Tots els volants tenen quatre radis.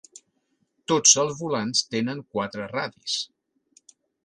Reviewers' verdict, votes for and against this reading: accepted, 6, 0